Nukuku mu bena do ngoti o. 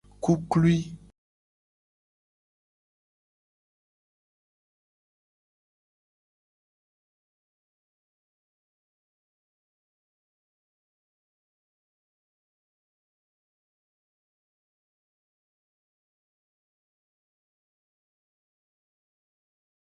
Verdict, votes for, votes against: rejected, 1, 2